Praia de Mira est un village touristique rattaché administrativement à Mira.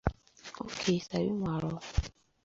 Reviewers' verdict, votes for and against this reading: rejected, 0, 2